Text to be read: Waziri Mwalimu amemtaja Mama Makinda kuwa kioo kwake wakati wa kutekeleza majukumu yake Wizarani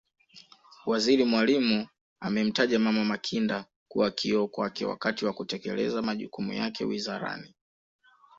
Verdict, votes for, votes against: accepted, 2, 0